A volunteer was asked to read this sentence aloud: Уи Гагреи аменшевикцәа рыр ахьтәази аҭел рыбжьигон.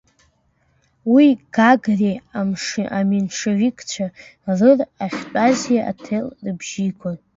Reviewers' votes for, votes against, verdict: 1, 2, rejected